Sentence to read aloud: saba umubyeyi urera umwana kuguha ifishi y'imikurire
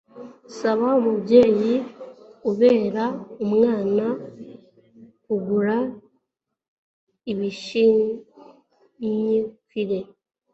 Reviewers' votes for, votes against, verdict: 1, 2, rejected